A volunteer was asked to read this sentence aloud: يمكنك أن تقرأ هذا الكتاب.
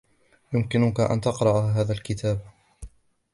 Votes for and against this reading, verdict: 2, 0, accepted